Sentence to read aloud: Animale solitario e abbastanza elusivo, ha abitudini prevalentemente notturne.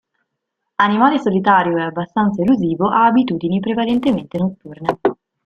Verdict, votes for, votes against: accepted, 2, 0